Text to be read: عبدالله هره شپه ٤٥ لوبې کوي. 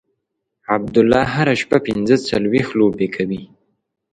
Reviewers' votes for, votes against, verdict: 0, 2, rejected